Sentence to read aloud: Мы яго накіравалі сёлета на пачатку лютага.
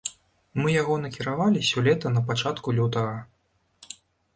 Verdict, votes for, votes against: rejected, 1, 2